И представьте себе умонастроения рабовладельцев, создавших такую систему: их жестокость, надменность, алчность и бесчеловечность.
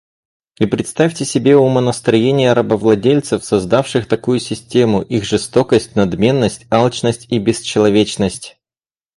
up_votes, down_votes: 4, 0